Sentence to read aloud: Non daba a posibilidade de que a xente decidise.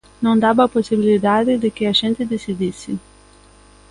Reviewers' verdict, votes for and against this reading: accepted, 2, 0